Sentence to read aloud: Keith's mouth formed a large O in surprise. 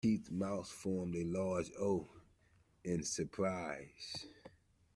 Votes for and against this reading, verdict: 0, 2, rejected